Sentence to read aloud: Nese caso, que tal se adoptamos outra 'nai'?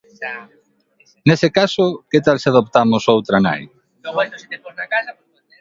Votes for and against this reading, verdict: 1, 3, rejected